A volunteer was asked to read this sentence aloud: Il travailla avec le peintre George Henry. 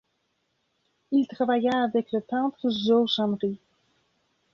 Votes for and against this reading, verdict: 1, 2, rejected